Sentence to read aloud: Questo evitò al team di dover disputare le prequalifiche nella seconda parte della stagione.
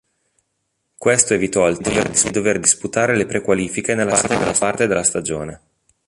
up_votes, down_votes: 0, 2